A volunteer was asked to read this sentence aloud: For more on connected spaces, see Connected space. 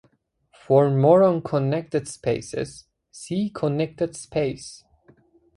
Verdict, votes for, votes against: accepted, 2, 0